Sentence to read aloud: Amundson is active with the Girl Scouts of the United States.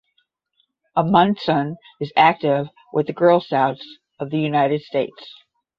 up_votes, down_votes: 5, 10